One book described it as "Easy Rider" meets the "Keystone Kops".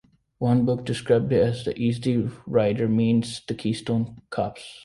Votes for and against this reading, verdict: 0, 2, rejected